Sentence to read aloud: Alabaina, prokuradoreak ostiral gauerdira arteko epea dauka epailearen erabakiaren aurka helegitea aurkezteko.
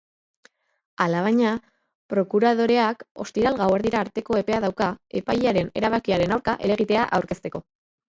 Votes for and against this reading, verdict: 0, 2, rejected